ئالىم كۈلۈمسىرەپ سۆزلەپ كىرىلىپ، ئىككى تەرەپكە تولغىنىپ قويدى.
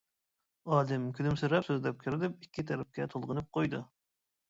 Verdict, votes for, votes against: rejected, 0, 2